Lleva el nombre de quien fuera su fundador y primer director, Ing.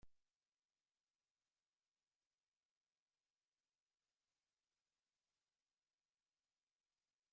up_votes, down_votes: 0, 2